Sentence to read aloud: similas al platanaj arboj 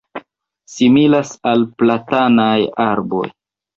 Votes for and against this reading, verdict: 2, 1, accepted